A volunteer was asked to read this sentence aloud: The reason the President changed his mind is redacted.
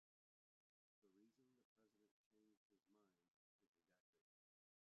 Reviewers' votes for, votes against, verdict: 0, 2, rejected